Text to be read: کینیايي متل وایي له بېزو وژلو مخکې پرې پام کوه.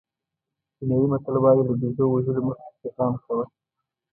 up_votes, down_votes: 2, 0